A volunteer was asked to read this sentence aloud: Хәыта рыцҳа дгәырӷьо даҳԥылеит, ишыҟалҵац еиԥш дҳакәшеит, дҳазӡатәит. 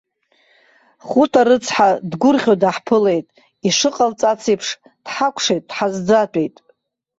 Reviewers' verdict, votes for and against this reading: rejected, 0, 2